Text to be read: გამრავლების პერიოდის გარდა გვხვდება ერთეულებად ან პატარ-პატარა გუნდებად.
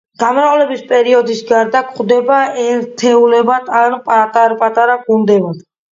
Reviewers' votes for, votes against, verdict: 2, 0, accepted